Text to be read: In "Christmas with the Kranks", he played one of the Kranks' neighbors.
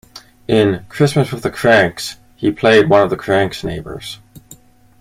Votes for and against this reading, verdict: 2, 0, accepted